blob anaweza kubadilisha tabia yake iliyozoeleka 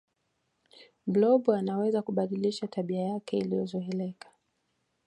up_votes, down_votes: 2, 0